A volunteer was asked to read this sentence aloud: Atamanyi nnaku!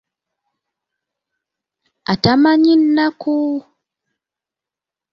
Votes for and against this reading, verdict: 2, 0, accepted